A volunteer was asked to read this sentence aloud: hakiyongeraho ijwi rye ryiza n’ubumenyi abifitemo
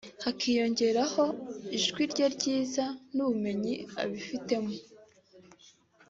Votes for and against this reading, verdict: 2, 0, accepted